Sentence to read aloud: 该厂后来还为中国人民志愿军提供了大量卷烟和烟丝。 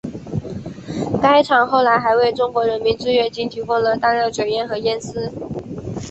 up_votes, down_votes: 4, 0